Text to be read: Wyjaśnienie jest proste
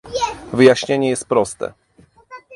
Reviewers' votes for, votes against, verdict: 0, 2, rejected